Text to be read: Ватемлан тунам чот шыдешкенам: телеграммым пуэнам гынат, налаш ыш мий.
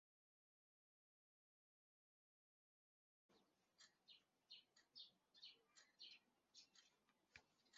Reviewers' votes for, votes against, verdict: 0, 2, rejected